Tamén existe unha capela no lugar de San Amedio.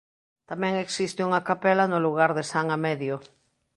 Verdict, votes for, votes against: accepted, 2, 0